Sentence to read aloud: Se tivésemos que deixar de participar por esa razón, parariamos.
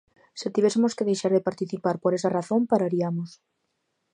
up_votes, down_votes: 2, 0